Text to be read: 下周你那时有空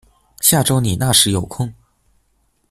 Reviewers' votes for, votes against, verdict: 2, 1, accepted